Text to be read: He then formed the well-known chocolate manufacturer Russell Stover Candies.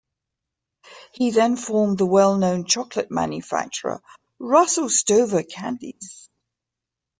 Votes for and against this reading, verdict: 2, 0, accepted